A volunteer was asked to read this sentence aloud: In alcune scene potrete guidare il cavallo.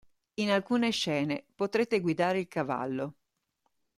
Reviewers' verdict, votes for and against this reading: accepted, 2, 0